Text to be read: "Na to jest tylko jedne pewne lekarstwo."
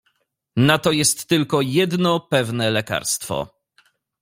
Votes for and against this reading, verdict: 0, 2, rejected